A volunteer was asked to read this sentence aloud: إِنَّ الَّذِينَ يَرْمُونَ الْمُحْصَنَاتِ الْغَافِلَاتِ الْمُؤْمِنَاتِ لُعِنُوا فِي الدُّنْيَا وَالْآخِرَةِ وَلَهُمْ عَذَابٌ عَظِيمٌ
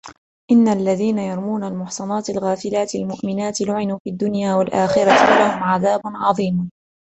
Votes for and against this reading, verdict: 2, 0, accepted